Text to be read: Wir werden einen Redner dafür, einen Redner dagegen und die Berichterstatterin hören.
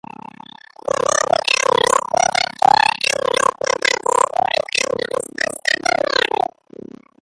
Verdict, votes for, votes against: rejected, 0, 2